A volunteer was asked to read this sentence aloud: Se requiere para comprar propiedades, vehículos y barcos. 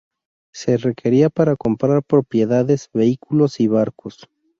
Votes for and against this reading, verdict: 0, 2, rejected